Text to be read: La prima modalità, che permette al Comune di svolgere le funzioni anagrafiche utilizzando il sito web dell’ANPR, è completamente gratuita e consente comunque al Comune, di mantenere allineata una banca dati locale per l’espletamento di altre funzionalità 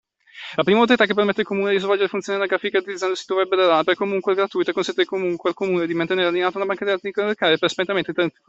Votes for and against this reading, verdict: 0, 2, rejected